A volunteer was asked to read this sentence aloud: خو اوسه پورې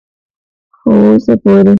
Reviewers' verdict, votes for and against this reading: rejected, 0, 2